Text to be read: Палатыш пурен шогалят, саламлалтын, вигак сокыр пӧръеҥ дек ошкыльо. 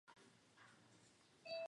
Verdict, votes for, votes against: rejected, 0, 3